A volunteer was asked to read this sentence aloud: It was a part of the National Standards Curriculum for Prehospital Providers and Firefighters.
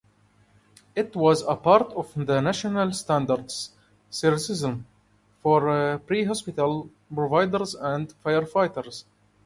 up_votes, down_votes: 0, 2